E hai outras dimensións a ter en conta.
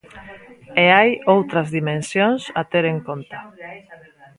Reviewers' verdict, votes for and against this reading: rejected, 0, 2